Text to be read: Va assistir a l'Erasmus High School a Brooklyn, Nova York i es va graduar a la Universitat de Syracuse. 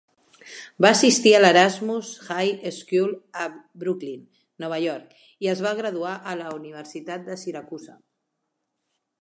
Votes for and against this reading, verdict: 2, 0, accepted